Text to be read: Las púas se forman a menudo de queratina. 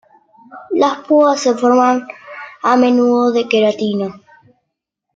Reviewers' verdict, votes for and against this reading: accepted, 2, 0